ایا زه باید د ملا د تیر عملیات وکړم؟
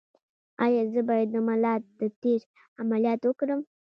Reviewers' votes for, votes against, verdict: 2, 0, accepted